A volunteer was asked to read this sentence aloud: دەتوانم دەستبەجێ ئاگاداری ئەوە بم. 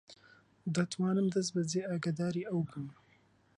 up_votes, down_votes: 0, 2